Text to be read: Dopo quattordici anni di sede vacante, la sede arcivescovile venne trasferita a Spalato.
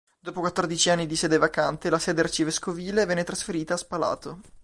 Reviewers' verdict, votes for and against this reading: accepted, 2, 1